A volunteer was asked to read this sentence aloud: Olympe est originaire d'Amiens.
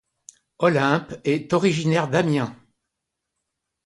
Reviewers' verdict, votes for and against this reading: accepted, 2, 0